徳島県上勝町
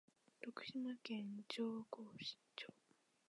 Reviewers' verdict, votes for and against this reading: rejected, 1, 2